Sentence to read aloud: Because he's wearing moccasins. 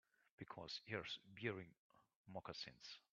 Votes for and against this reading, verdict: 2, 4, rejected